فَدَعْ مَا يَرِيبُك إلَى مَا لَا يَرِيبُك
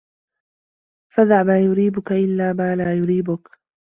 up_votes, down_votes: 1, 2